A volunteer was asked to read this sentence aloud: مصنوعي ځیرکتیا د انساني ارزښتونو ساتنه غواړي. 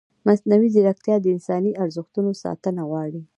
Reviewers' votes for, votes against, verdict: 1, 2, rejected